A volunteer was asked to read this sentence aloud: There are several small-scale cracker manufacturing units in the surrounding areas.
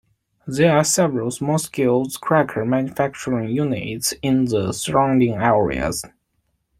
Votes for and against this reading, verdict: 2, 1, accepted